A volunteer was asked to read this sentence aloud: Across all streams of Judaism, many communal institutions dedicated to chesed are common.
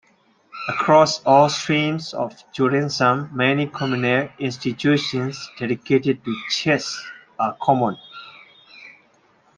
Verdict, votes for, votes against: rejected, 0, 2